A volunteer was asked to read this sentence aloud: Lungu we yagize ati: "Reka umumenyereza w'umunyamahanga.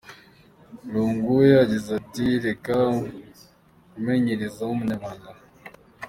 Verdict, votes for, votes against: accepted, 2, 0